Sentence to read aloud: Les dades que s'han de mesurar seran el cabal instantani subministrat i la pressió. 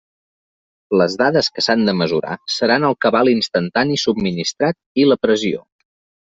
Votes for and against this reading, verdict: 3, 0, accepted